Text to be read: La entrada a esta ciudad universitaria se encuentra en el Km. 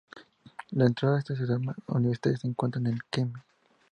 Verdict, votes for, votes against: rejected, 0, 2